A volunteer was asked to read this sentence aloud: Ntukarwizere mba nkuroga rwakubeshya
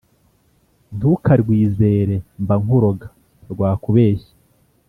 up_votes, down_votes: 2, 0